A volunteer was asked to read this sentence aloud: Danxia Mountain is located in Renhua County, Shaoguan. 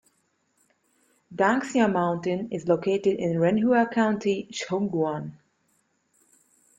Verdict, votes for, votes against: accepted, 2, 0